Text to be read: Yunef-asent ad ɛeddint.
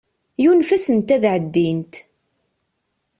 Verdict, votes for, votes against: accepted, 2, 0